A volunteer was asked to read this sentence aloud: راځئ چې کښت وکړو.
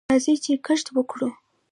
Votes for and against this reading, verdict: 2, 1, accepted